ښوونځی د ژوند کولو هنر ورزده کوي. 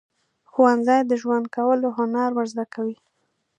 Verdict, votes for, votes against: accepted, 2, 0